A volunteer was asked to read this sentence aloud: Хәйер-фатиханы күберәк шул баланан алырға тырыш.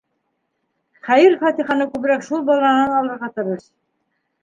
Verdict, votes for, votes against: rejected, 2, 3